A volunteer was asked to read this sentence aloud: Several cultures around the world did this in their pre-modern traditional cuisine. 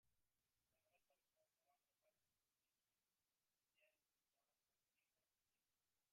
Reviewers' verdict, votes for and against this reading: rejected, 0, 2